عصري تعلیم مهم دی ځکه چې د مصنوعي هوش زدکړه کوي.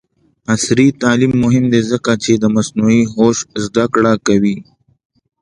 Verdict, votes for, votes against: accepted, 2, 0